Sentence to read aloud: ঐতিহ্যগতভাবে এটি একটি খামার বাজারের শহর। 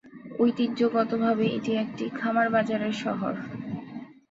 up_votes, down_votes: 4, 0